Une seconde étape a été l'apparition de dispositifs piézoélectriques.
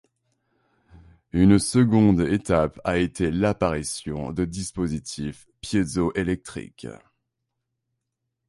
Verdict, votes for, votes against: accepted, 3, 0